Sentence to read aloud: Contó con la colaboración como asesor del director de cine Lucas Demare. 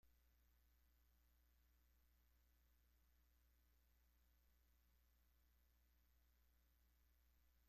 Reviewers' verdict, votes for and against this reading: rejected, 0, 2